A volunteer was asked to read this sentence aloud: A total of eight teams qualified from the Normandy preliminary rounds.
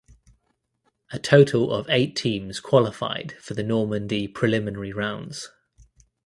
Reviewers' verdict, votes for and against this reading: accepted, 2, 0